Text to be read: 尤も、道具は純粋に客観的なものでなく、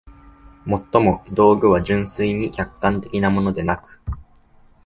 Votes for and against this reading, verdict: 2, 0, accepted